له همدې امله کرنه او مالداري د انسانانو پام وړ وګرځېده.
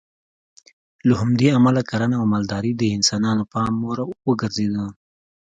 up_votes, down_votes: 2, 0